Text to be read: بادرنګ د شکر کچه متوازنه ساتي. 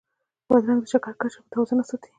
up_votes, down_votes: 1, 2